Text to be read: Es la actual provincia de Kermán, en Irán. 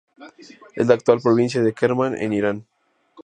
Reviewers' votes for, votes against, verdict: 2, 0, accepted